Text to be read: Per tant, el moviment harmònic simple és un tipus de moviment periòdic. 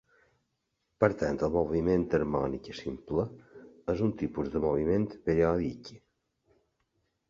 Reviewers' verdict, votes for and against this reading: accepted, 2, 0